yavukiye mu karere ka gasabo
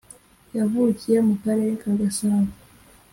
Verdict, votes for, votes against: accepted, 2, 0